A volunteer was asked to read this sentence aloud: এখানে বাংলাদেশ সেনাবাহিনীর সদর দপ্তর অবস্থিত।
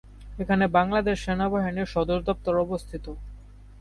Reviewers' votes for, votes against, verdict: 2, 0, accepted